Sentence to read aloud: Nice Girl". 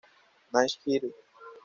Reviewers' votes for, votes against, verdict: 1, 2, rejected